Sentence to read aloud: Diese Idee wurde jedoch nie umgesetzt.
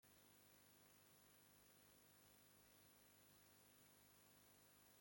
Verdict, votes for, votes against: rejected, 0, 2